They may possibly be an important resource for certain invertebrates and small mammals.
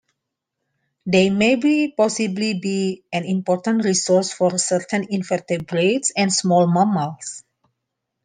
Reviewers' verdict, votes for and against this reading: rejected, 1, 2